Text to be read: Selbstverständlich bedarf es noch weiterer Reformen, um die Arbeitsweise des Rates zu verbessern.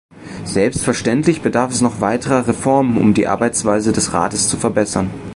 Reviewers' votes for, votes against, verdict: 2, 0, accepted